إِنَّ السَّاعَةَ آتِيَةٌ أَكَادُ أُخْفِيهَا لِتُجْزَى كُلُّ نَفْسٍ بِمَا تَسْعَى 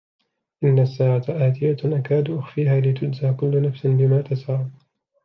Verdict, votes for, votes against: rejected, 0, 2